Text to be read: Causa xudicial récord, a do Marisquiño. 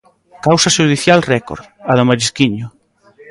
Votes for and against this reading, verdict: 2, 0, accepted